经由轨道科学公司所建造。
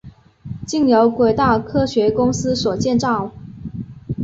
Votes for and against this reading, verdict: 4, 0, accepted